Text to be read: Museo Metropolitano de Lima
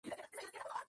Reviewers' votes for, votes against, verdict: 0, 2, rejected